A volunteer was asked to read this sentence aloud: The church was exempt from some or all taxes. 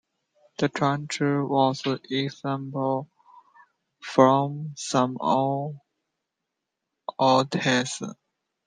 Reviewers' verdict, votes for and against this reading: rejected, 0, 2